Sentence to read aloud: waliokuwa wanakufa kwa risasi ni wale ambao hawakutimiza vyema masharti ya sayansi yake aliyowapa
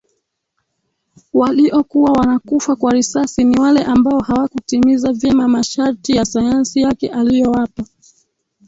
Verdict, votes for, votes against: rejected, 1, 3